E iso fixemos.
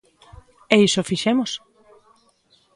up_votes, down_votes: 2, 0